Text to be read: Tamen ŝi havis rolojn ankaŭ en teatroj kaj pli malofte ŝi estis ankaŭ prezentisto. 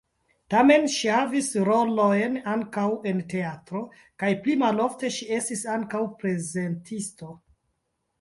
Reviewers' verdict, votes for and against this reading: rejected, 1, 2